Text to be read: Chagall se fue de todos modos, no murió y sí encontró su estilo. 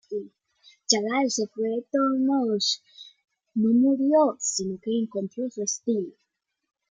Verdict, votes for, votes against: rejected, 0, 2